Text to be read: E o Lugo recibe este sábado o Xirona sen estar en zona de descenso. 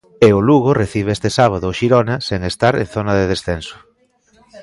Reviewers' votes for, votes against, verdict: 1, 2, rejected